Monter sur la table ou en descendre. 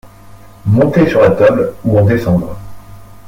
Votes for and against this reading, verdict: 1, 2, rejected